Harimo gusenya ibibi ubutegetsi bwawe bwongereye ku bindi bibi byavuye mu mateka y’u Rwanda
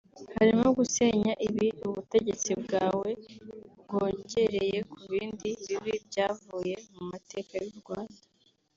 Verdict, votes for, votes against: rejected, 1, 2